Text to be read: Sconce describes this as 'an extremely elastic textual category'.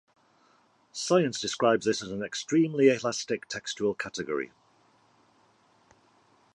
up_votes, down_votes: 1, 2